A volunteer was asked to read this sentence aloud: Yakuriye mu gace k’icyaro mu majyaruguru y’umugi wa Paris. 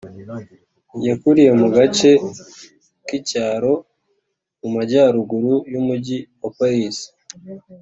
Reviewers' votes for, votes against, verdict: 2, 0, accepted